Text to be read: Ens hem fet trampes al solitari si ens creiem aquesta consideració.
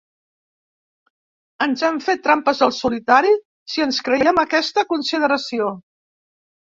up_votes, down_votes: 3, 0